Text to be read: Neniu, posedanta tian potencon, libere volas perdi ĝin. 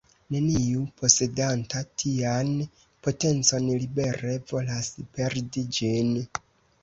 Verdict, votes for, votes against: accepted, 2, 0